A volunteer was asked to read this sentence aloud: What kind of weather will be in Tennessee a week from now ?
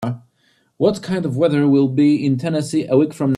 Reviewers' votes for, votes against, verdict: 0, 2, rejected